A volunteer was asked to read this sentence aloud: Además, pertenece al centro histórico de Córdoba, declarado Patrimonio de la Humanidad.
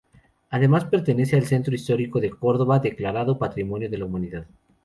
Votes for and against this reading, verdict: 2, 0, accepted